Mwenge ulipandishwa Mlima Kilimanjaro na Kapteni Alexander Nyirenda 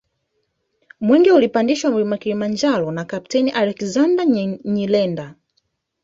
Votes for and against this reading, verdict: 0, 2, rejected